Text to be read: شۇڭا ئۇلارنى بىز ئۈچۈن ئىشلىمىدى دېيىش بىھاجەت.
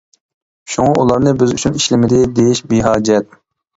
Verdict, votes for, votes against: accepted, 3, 0